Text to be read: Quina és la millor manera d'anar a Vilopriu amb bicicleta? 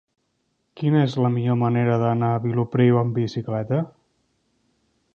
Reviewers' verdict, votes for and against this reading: accepted, 4, 0